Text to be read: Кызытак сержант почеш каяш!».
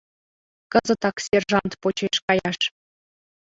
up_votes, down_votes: 2, 0